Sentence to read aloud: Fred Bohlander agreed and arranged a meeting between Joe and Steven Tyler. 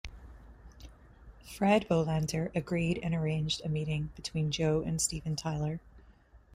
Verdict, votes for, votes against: accepted, 2, 0